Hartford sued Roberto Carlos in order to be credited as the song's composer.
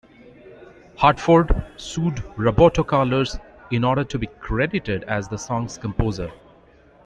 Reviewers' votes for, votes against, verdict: 0, 2, rejected